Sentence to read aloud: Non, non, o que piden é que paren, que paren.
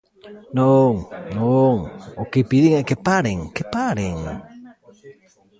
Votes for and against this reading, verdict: 2, 0, accepted